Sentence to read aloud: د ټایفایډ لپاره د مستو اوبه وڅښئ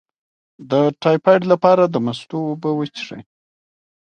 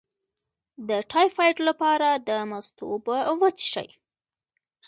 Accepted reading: first